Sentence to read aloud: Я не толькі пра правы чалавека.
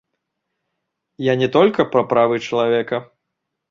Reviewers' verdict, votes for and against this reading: accepted, 2, 0